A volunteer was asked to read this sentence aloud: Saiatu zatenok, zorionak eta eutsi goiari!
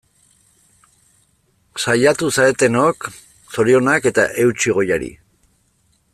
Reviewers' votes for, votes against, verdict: 1, 2, rejected